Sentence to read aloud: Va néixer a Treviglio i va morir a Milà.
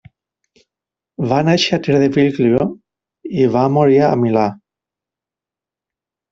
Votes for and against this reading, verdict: 2, 1, accepted